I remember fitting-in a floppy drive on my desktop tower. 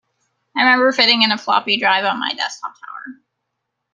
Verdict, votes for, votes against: accepted, 2, 0